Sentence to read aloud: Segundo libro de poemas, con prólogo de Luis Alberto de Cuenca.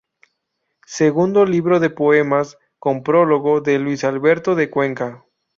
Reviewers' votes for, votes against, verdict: 2, 0, accepted